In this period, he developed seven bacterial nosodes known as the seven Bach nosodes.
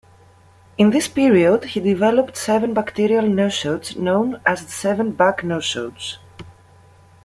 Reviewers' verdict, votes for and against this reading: accepted, 2, 1